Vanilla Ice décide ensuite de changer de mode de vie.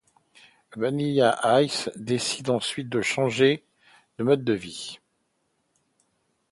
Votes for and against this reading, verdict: 2, 0, accepted